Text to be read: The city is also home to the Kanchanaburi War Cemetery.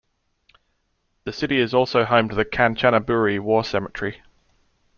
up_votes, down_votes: 2, 0